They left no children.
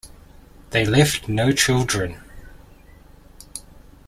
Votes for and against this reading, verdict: 2, 0, accepted